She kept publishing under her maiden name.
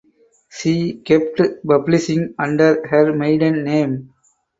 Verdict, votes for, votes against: accepted, 4, 0